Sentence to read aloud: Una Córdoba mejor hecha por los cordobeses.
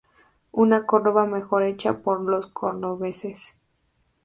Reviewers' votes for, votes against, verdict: 0, 2, rejected